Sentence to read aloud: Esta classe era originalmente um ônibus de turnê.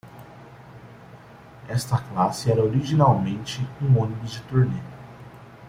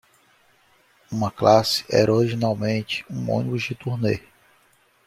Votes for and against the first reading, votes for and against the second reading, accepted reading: 2, 0, 1, 2, first